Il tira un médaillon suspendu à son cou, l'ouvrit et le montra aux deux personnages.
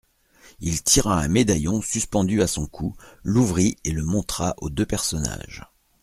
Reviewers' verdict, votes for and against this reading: accepted, 2, 0